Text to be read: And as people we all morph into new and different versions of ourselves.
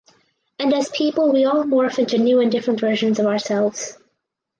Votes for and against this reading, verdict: 4, 0, accepted